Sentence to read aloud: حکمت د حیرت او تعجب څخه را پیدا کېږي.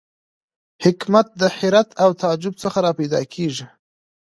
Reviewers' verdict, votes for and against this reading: accepted, 2, 0